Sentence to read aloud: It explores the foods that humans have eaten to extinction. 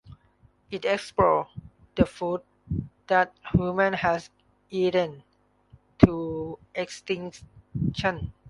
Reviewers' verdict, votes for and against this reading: rejected, 0, 2